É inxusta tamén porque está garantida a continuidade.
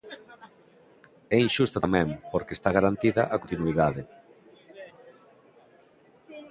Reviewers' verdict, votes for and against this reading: rejected, 1, 2